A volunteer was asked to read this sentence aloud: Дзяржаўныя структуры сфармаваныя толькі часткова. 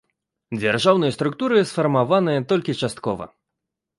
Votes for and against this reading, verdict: 2, 0, accepted